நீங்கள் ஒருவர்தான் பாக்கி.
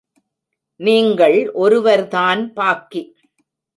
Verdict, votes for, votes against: accepted, 2, 0